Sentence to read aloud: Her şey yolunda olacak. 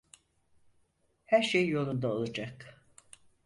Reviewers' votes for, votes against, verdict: 4, 0, accepted